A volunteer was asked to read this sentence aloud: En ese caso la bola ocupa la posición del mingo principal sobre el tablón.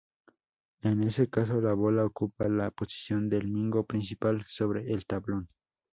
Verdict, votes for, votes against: accepted, 2, 0